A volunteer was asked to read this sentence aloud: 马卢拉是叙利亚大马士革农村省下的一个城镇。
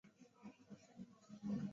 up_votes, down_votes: 0, 3